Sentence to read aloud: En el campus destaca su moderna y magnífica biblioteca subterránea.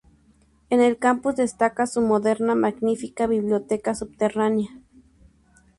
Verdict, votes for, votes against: rejected, 0, 2